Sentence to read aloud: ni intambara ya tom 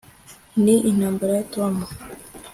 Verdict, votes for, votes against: accepted, 2, 0